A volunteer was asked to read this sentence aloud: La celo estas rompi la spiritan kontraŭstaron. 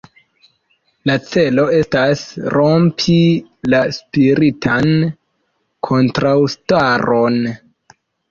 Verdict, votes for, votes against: accepted, 2, 0